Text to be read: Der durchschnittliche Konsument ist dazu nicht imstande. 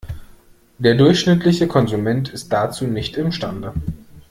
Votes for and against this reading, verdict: 2, 0, accepted